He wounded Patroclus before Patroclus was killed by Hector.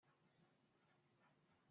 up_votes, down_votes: 1, 2